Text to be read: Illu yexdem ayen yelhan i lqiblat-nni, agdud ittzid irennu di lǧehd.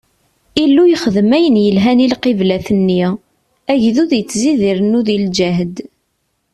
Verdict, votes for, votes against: accepted, 2, 0